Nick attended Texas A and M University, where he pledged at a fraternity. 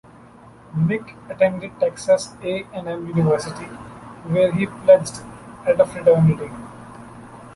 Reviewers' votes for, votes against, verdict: 1, 2, rejected